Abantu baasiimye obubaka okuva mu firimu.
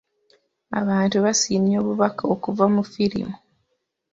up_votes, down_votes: 0, 2